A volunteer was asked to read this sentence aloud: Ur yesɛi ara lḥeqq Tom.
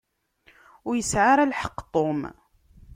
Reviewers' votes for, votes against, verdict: 2, 0, accepted